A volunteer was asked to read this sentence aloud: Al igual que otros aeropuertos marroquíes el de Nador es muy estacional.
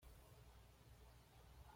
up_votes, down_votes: 1, 2